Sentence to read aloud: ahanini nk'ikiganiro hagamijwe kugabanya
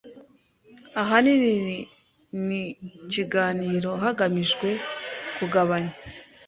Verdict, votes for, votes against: rejected, 1, 2